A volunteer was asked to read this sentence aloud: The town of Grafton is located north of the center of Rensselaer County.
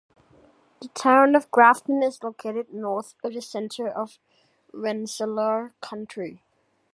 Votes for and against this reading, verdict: 1, 2, rejected